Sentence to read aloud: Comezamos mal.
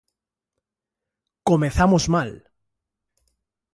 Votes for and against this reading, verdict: 2, 0, accepted